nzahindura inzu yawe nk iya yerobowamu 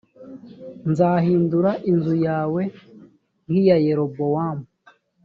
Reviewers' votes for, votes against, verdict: 2, 0, accepted